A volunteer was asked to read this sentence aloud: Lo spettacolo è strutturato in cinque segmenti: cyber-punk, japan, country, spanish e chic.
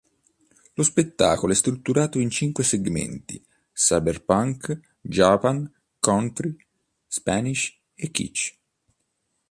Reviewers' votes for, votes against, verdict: 0, 2, rejected